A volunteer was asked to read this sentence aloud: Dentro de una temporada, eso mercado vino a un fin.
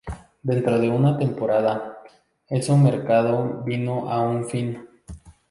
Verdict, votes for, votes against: rejected, 0, 2